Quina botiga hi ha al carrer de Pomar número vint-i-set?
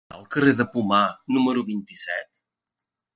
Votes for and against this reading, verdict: 0, 2, rejected